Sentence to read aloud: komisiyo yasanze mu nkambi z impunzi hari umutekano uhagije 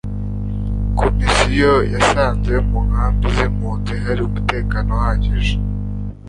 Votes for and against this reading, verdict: 2, 0, accepted